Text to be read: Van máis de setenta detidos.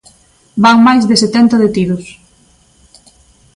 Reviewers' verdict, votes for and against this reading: accepted, 2, 0